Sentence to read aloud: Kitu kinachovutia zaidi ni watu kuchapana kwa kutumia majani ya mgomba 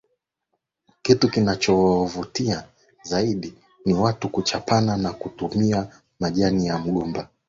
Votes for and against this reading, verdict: 0, 2, rejected